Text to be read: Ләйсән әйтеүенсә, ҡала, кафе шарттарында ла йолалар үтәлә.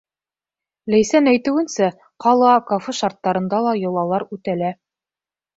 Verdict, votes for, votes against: accepted, 2, 0